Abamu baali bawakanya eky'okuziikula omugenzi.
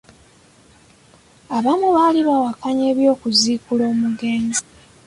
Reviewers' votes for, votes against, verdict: 1, 2, rejected